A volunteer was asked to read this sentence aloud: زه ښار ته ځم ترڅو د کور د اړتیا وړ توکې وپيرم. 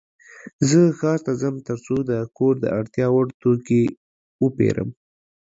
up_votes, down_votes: 2, 0